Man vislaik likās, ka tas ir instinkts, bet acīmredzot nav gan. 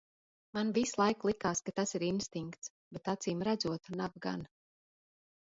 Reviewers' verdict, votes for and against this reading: accepted, 2, 0